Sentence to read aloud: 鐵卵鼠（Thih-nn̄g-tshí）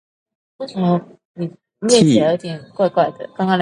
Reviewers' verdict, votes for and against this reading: rejected, 1, 2